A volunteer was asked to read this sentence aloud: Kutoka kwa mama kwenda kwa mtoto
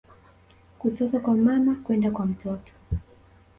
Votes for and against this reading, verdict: 2, 1, accepted